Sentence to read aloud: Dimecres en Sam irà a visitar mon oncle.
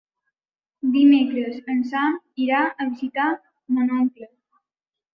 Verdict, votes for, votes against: accepted, 3, 1